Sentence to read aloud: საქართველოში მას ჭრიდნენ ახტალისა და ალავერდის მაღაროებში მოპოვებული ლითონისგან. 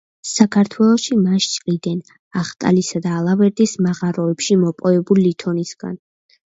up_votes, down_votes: 2, 0